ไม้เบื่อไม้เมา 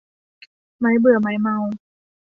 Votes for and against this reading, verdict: 2, 0, accepted